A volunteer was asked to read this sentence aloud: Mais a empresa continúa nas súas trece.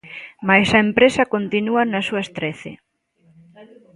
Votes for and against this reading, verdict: 2, 0, accepted